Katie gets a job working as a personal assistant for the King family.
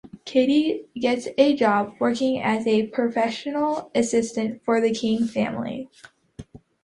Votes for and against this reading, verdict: 0, 2, rejected